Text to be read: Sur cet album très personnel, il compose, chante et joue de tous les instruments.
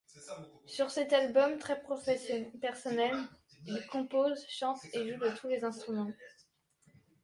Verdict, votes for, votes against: rejected, 1, 2